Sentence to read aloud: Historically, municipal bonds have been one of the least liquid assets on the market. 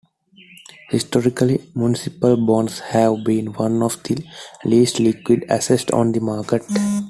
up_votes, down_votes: 2, 1